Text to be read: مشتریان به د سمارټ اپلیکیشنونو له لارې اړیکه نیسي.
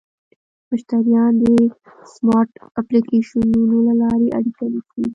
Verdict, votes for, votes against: accepted, 2, 0